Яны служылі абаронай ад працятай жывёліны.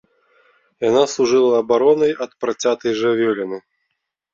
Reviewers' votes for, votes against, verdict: 0, 3, rejected